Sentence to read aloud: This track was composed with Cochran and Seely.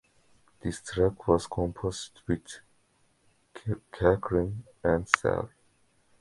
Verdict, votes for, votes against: rejected, 0, 2